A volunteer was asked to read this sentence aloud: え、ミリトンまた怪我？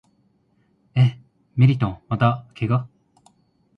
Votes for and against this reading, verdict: 1, 2, rejected